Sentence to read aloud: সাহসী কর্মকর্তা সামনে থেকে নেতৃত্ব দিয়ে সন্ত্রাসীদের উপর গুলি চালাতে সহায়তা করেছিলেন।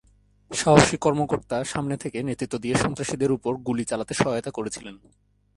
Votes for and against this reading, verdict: 2, 0, accepted